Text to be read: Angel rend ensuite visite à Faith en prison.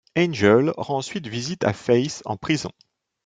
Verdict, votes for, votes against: accepted, 2, 0